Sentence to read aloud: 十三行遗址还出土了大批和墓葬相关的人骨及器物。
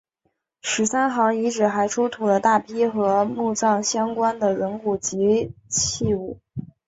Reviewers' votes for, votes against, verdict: 2, 0, accepted